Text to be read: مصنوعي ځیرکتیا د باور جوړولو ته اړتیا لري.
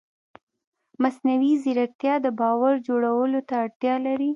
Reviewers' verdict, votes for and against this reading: accepted, 2, 0